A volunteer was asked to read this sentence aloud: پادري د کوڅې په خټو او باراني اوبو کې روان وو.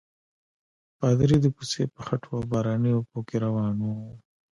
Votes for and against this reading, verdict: 0, 2, rejected